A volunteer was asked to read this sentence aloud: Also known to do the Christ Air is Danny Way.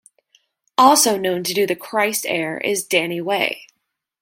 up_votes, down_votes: 2, 0